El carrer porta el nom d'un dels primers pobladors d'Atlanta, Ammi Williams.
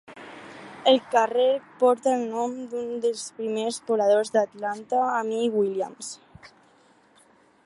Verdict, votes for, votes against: rejected, 0, 2